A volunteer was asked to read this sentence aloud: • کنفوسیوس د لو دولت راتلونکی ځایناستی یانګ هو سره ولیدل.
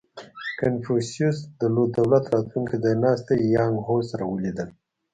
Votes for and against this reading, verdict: 2, 0, accepted